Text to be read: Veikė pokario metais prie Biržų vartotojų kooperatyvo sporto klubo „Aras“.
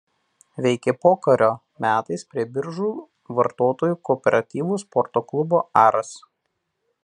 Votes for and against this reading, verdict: 2, 0, accepted